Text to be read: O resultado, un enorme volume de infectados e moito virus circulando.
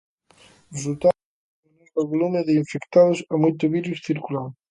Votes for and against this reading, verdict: 0, 2, rejected